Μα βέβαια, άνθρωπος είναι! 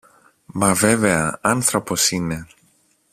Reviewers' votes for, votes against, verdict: 2, 0, accepted